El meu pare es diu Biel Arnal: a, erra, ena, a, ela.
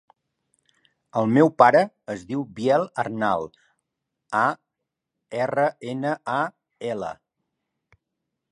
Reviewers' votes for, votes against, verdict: 3, 0, accepted